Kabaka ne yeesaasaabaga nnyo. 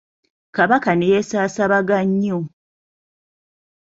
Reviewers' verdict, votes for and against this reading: accepted, 2, 0